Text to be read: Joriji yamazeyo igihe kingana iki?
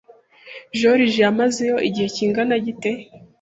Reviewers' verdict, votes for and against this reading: rejected, 0, 2